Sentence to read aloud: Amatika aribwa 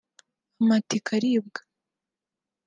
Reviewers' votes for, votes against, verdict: 2, 0, accepted